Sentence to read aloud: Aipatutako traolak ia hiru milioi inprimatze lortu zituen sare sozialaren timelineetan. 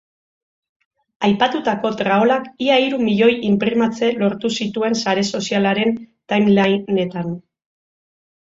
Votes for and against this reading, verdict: 0, 2, rejected